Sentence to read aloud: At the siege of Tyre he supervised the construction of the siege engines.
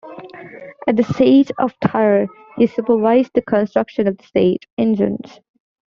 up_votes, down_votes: 1, 2